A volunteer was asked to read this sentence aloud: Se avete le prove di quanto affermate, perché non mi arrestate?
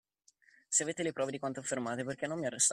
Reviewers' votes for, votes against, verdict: 0, 2, rejected